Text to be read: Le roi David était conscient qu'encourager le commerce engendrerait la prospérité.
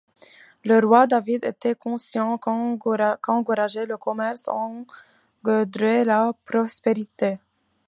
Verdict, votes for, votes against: rejected, 0, 2